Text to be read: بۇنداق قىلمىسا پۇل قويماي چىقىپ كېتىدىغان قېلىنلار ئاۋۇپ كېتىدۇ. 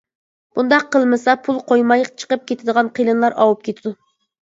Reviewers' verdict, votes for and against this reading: accepted, 2, 0